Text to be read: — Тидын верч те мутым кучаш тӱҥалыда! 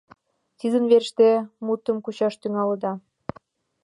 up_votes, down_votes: 2, 0